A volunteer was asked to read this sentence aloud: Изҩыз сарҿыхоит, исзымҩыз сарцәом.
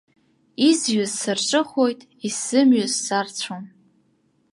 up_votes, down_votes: 2, 0